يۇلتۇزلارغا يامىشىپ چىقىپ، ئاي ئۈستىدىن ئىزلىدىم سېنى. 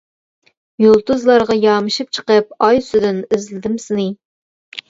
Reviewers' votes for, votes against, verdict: 0, 2, rejected